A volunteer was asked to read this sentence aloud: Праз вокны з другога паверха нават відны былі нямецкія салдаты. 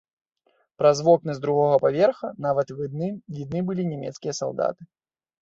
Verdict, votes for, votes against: rejected, 0, 2